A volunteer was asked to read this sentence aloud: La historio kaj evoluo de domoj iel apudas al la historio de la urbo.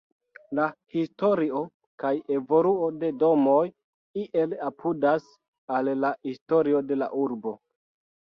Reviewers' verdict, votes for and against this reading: rejected, 0, 2